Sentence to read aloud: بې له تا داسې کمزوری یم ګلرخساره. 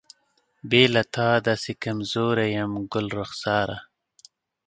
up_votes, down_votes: 3, 0